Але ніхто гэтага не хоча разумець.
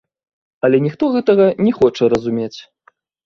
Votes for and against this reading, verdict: 0, 2, rejected